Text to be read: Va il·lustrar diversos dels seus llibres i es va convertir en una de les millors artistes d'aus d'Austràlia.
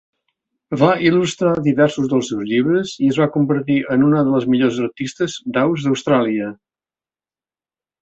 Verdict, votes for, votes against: accepted, 3, 0